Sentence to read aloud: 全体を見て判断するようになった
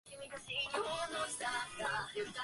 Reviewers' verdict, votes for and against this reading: rejected, 1, 2